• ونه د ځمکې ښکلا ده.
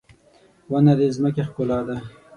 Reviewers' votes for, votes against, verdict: 0, 6, rejected